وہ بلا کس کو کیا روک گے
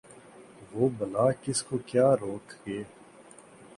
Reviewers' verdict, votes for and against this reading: accepted, 2, 0